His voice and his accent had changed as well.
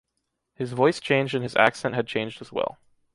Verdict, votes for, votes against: rejected, 1, 2